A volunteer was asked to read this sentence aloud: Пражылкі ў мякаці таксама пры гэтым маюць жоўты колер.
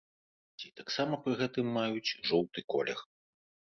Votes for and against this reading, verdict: 0, 2, rejected